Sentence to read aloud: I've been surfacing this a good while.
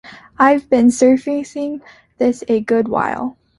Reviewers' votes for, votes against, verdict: 2, 0, accepted